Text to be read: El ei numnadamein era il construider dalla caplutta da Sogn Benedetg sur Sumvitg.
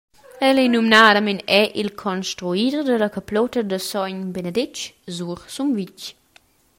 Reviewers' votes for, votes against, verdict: 2, 0, accepted